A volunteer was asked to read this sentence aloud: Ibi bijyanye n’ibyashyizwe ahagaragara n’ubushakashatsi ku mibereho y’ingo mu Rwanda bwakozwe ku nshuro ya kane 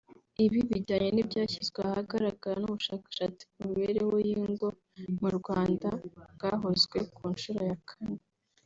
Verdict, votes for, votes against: rejected, 0, 2